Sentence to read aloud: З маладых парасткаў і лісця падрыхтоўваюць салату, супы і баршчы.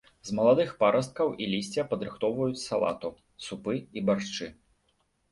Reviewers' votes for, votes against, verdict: 2, 0, accepted